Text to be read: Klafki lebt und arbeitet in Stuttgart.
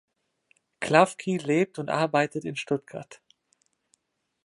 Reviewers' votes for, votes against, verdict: 2, 0, accepted